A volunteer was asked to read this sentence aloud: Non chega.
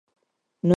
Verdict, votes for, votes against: rejected, 0, 4